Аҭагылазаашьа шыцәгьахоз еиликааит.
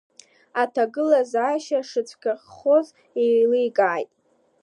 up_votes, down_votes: 2, 1